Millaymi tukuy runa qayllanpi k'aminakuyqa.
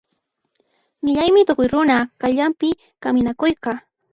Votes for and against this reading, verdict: 0, 2, rejected